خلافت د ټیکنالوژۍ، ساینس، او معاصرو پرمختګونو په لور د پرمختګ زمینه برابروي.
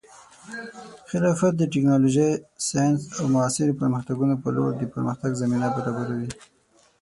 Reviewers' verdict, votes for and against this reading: rejected, 3, 6